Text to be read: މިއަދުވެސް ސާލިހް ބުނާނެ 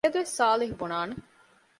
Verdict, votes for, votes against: rejected, 0, 2